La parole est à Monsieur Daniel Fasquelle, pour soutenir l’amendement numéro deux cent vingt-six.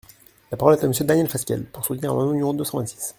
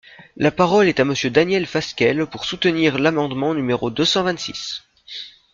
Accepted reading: second